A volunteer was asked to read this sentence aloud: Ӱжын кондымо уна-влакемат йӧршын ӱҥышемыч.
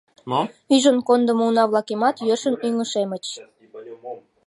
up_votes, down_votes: 0, 2